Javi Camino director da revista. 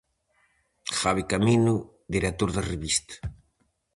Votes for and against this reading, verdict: 2, 2, rejected